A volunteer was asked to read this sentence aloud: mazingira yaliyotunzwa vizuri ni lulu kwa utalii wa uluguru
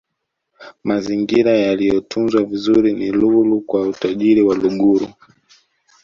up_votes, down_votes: 2, 0